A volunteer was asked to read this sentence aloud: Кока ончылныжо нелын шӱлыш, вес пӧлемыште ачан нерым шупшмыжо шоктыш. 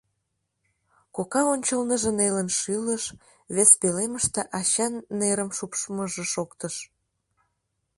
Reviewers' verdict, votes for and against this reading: accepted, 2, 0